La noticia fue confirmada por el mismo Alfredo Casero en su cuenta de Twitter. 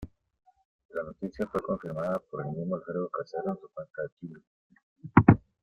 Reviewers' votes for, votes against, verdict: 2, 1, accepted